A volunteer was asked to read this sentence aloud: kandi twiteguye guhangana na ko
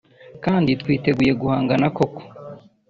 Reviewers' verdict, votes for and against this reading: rejected, 1, 2